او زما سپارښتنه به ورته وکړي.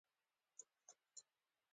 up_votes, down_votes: 2, 1